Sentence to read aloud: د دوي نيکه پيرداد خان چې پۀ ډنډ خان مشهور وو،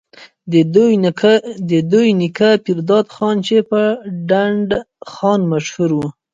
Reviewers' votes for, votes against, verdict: 1, 2, rejected